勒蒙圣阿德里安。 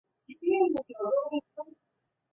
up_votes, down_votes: 0, 2